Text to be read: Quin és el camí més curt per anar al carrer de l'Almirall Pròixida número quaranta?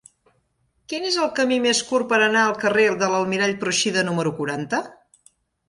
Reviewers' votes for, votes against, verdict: 0, 2, rejected